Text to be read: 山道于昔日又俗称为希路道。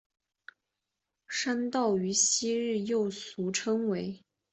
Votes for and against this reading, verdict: 0, 3, rejected